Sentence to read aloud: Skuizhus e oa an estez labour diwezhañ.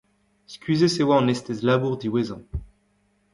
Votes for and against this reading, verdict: 1, 2, rejected